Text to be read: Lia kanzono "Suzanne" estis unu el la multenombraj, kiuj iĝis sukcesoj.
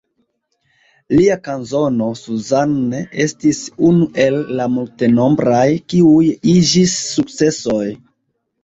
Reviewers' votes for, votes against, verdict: 0, 2, rejected